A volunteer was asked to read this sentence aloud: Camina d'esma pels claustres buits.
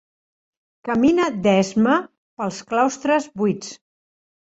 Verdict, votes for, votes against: accepted, 3, 0